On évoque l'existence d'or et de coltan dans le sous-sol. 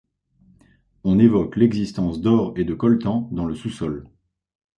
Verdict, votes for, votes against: accepted, 2, 1